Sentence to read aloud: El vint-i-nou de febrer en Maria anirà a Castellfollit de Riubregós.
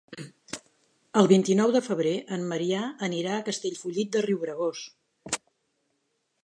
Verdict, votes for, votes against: rejected, 0, 2